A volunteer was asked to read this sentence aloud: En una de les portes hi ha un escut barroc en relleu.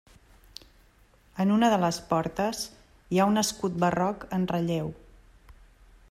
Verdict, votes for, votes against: accepted, 3, 0